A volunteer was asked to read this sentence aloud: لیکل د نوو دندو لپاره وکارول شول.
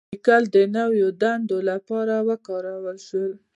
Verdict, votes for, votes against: accepted, 2, 0